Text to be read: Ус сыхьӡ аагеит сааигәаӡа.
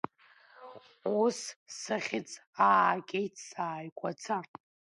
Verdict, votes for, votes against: accepted, 2, 1